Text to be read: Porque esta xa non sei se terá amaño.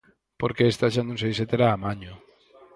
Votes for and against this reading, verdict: 4, 0, accepted